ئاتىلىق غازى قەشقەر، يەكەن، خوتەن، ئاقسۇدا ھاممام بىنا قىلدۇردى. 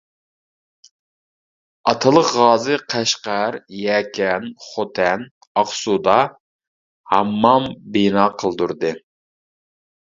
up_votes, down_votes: 2, 0